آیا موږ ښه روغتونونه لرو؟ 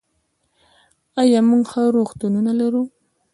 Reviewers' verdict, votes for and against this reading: accepted, 2, 0